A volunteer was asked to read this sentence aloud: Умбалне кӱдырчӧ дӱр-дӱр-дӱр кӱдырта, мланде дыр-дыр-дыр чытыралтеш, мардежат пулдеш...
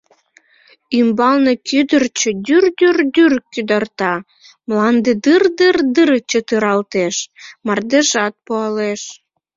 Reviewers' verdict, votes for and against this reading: rejected, 0, 2